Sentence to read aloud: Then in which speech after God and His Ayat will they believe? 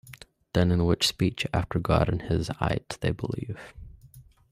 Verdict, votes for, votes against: accepted, 2, 0